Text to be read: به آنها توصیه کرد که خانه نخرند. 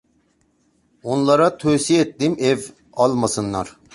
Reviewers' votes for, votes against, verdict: 0, 3, rejected